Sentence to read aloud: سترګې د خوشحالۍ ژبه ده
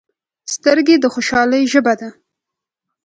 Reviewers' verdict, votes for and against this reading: accepted, 2, 0